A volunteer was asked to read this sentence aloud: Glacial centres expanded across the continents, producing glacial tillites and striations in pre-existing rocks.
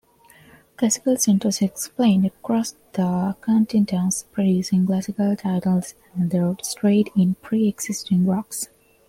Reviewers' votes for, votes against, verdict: 1, 2, rejected